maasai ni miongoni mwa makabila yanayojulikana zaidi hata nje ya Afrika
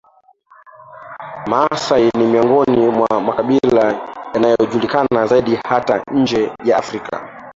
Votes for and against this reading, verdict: 0, 2, rejected